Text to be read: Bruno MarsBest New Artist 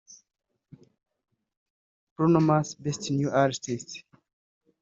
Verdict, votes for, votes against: rejected, 1, 2